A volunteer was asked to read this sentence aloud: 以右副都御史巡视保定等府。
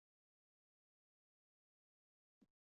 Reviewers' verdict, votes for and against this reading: rejected, 1, 2